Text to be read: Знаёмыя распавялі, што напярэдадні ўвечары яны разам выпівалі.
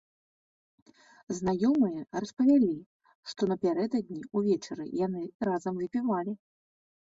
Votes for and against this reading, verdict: 2, 0, accepted